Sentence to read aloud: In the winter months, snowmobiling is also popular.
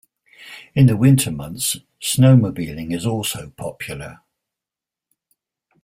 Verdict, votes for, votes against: accepted, 2, 0